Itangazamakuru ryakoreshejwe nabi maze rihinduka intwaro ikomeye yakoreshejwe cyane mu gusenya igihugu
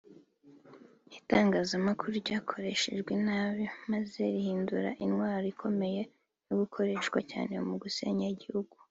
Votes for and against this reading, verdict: 2, 0, accepted